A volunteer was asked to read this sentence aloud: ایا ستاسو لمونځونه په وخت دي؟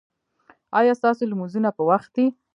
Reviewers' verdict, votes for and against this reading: rejected, 1, 2